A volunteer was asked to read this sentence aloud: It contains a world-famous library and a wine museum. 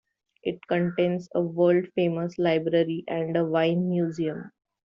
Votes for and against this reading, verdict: 2, 1, accepted